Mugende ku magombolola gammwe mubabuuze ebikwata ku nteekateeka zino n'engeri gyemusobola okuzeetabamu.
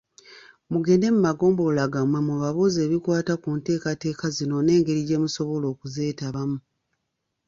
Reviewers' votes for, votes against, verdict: 1, 2, rejected